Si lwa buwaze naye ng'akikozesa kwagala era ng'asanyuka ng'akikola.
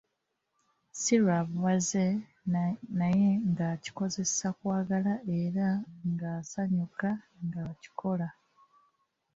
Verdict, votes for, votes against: accepted, 2, 0